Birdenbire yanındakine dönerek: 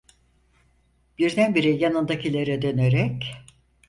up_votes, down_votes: 0, 4